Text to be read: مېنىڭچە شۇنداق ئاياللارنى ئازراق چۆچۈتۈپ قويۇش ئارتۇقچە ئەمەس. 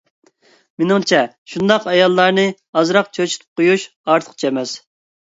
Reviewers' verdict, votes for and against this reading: accepted, 3, 0